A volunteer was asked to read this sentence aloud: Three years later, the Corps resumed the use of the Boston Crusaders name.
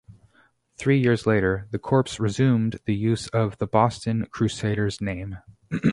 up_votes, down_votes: 0, 2